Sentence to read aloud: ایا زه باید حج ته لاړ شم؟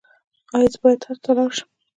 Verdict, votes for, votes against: accepted, 2, 1